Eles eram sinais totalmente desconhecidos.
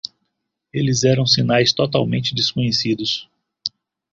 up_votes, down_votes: 2, 0